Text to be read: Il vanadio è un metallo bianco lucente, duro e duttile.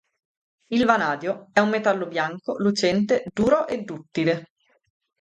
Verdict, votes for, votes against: accepted, 2, 0